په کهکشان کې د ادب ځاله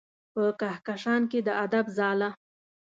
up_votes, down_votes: 2, 1